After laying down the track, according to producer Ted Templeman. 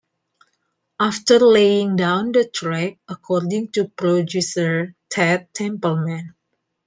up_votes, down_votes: 2, 0